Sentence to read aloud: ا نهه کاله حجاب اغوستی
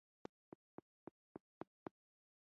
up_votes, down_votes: 1, 2